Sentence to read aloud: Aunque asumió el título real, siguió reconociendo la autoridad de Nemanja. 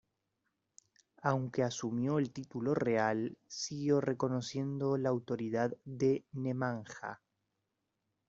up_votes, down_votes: 2, 0